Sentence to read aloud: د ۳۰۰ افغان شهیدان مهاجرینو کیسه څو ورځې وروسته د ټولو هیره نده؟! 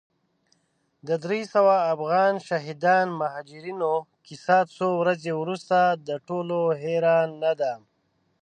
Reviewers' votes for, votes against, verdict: 0, 2, rejected